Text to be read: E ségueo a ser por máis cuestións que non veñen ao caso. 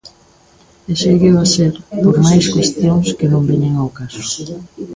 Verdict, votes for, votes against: accepted, 2, 0